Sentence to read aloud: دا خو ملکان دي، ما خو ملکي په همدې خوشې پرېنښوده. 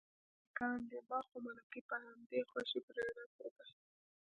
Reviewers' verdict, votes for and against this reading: rejected, 0, 2